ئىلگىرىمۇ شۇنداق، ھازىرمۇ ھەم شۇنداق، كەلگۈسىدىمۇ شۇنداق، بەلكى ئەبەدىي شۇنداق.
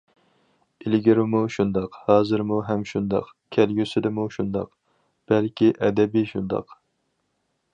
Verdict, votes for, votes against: rejected, 0, 4